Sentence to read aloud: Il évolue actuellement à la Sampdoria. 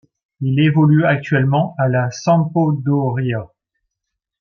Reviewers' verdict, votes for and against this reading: rejected, 1, 3